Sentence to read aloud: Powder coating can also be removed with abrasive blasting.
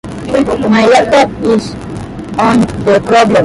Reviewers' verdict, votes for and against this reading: rejected, 0, 2